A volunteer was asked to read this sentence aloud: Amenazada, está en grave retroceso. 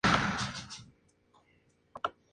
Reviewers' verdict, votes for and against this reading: rejected, 0, 2